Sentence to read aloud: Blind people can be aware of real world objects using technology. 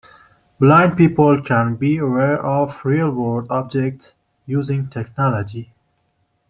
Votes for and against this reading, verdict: 2, 0, accepted